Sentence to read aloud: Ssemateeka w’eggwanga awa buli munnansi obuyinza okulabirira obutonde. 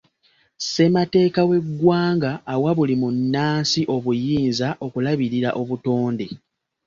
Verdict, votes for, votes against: accepted, 2, 0